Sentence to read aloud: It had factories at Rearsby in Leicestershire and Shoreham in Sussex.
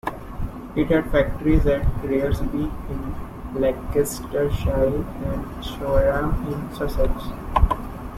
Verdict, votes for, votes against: rejected, 0, 2